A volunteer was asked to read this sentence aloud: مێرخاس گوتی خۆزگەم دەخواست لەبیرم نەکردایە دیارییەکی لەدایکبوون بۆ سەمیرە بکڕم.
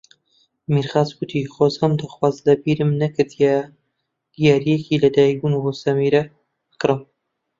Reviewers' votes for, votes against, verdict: 1, 2, rejected